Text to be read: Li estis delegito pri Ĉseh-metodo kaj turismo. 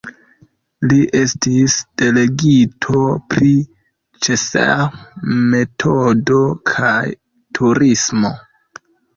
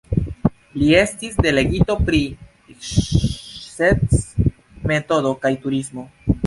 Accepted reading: first